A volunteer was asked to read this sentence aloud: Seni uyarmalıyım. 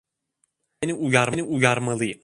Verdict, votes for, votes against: rejected, 0, 2